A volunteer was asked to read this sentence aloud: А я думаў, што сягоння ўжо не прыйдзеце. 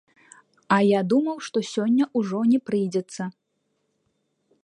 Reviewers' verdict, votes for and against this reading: rejected, 0, 2